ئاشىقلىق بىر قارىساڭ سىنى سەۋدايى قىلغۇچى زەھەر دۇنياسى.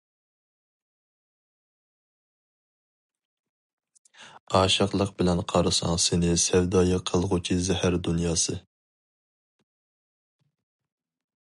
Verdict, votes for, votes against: rejected, 0, 4